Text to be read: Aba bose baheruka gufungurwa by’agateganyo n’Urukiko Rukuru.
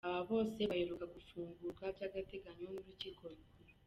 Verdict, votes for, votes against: rejected, 1, 2